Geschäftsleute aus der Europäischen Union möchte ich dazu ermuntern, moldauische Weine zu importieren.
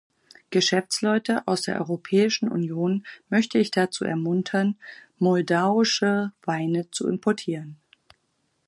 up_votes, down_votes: 4, 0